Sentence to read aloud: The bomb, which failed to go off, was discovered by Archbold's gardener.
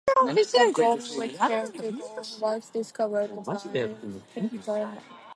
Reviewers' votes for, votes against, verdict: 0, 2, rejected